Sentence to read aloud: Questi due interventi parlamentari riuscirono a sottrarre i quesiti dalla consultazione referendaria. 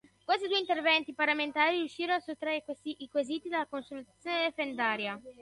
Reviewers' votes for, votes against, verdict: 0, 3, rejected